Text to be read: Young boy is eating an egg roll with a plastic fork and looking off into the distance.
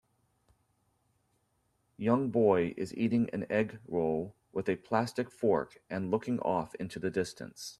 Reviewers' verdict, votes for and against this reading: accepted, 2, 0